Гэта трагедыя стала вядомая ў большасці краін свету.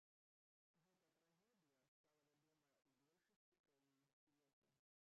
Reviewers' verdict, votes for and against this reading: rejected, 0, 2